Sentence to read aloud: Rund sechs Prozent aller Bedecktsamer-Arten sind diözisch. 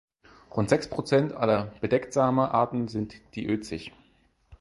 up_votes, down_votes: 4, 0